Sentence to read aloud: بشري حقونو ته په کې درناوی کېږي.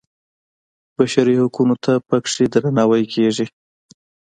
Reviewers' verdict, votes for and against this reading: accepted, 2, 0